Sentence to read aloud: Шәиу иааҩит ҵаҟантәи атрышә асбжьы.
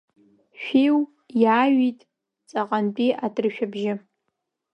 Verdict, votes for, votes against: rejected, 0, 2